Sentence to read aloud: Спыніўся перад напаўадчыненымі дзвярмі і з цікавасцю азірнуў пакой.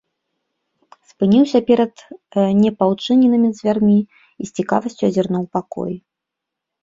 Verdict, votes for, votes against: rejected, 1, 2